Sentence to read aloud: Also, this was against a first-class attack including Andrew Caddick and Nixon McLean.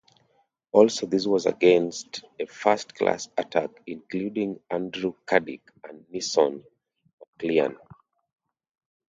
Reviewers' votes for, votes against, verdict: 0, 2, rejected